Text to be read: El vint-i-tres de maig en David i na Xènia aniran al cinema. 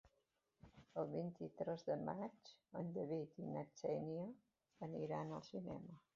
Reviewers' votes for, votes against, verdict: 2, 0, accepted